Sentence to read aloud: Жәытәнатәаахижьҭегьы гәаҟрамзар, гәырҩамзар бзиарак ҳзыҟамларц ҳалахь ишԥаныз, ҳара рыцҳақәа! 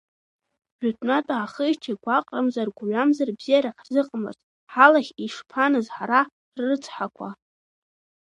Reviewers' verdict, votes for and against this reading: rejected, 1, 2